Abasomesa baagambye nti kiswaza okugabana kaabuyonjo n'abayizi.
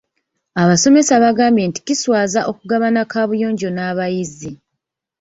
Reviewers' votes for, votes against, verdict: 1, 2, rejected